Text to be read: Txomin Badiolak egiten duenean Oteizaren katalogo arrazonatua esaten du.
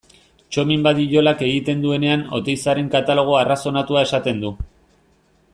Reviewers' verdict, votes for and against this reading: accepted, 2, 0